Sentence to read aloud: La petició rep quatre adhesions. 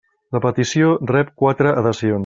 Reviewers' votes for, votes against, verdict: 0, 2, rejected